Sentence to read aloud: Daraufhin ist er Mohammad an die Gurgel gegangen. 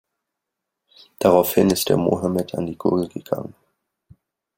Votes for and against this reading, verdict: 2, 0, accepted